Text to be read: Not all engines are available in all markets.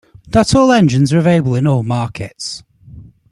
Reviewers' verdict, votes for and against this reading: rejected, 0, 2